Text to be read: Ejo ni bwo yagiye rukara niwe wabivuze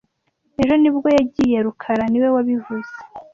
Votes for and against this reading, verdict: 2, 0, accepted